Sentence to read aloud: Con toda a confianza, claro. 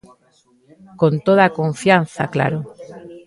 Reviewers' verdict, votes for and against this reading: rejected, 1, 2